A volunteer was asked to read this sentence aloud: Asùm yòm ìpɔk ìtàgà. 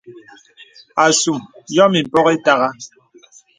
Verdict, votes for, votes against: accepted, 2, 0